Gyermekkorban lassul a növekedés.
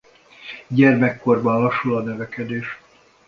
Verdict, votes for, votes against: accepted, 2, 0